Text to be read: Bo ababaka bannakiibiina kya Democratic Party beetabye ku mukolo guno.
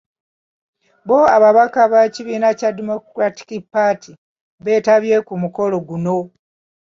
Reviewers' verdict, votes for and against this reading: rejected, 1, 2